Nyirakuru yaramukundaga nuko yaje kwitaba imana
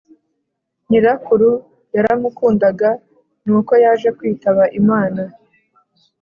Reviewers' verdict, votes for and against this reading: accepted, 2, 0